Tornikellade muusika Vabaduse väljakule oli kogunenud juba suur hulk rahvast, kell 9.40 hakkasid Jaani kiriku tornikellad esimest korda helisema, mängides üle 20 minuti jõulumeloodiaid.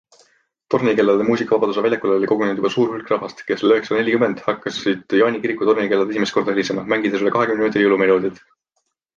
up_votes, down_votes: 0, 2